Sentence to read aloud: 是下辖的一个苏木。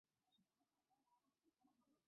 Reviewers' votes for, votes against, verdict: 2, 3, rejected